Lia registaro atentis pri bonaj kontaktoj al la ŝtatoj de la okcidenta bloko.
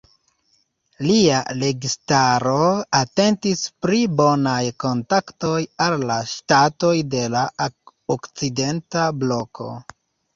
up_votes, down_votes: 0, 2